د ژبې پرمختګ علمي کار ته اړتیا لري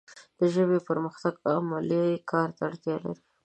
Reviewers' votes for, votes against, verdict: 0, 2, rejected